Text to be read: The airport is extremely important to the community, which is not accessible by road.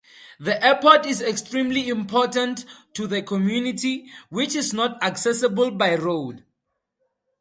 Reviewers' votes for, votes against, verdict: 2, 0, accepted